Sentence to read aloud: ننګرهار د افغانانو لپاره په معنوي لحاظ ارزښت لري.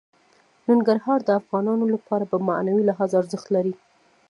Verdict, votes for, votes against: rejected, 0, 2